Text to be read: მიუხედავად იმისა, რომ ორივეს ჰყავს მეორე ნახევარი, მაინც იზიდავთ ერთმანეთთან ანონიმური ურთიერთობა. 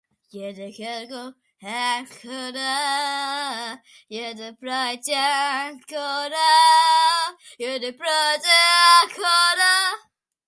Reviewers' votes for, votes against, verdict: 0, 2, rejected